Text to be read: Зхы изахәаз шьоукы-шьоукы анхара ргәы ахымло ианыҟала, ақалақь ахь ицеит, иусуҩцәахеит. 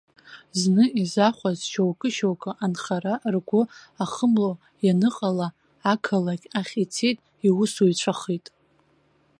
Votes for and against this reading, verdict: 0, 3, rejected